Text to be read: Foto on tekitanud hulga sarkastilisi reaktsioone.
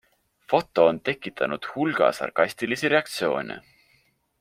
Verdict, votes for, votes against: accepted, 2, 0